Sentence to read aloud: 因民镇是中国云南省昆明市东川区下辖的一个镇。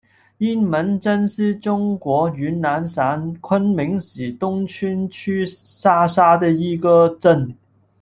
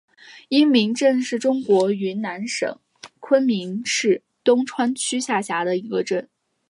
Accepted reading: second